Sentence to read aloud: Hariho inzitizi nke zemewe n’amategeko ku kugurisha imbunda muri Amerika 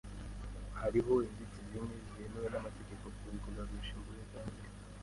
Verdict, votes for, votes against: rejected, 0, 2